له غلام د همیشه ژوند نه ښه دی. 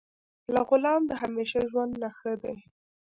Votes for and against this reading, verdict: 1, 2, rejected